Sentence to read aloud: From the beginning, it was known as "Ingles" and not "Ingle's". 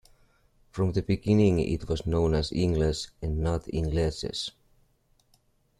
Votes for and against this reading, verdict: 0, 2, rejected